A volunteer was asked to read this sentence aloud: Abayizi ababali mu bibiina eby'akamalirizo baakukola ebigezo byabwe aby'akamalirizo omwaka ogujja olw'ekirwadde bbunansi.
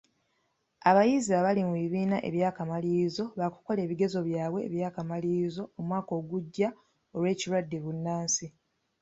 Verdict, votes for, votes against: accepted, 2, 1